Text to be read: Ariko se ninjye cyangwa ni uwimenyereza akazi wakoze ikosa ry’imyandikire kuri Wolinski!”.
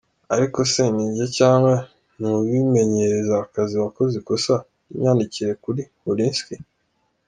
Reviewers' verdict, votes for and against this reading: accepted, 2, 0